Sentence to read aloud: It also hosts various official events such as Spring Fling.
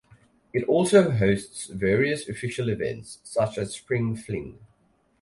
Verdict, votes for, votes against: rejected, 2, 2